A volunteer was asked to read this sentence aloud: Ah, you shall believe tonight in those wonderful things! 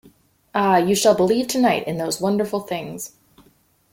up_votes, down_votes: 2, 0